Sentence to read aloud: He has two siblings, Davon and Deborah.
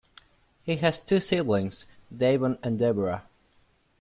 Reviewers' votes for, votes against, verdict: 2, 0, accepted